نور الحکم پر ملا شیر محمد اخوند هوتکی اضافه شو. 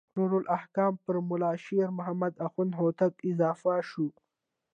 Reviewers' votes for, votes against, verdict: 2, 0, accepted